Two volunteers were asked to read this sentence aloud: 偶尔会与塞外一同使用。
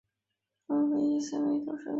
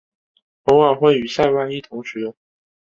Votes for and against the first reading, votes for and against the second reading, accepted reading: 0, 2, 4, 0, second